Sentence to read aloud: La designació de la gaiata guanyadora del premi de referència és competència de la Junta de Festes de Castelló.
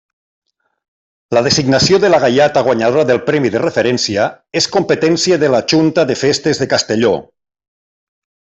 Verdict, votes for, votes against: accepted, 2, 0